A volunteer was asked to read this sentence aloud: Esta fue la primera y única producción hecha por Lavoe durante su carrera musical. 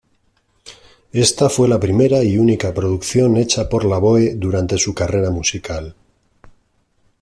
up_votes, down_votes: 2, 1